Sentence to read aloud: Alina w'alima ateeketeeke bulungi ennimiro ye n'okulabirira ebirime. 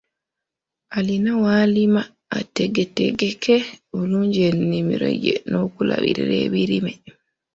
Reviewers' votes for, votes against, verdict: 0, 2, rejected